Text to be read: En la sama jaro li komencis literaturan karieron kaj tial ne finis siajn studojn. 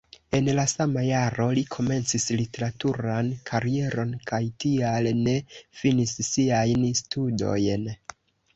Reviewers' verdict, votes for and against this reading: rejected, 0, 2